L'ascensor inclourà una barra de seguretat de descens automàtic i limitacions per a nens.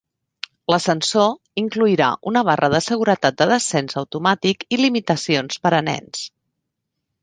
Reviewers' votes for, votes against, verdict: 1, 2, rejected